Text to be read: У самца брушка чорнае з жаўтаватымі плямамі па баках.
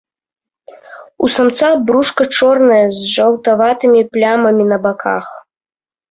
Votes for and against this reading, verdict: 0, 2, rejected